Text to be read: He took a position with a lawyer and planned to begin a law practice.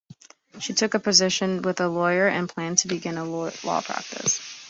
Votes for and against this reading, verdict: 0, 2, rejected